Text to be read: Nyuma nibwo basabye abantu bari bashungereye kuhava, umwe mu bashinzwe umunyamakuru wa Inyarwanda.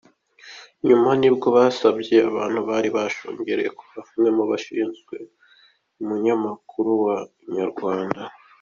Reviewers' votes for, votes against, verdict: 2, 1, accepted